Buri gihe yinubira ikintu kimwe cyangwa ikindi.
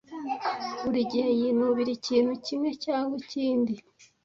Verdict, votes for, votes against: accepted, 2, 0